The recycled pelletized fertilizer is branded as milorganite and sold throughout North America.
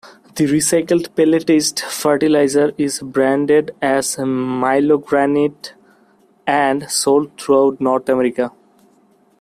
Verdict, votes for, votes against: rejected, 0, 2